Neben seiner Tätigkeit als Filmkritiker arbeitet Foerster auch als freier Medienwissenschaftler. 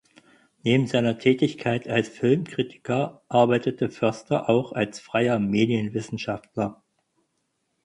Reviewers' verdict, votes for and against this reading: rejected, 0, 4